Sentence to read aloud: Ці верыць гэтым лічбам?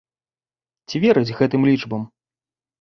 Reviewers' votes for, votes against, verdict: 2, 0, accepted